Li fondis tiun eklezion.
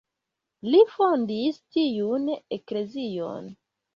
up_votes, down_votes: 2, 0